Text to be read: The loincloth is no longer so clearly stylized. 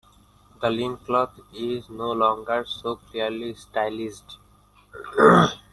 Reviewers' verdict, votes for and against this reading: rejected, 1, 2